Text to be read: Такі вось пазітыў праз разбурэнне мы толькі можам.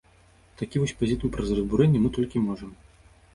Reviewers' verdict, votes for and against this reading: rejected, 0, 2